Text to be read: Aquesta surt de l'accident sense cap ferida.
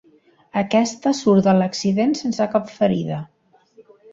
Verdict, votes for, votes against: accepted, 2, 0